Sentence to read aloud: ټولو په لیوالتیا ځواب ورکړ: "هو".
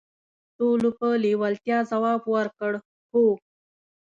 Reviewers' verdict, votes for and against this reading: accepted, 2, 0